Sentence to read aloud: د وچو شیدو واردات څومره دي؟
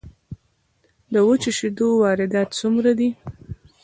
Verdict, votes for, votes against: rejected, 1, 2